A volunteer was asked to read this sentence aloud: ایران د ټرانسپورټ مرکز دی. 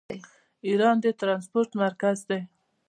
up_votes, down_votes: 2, 0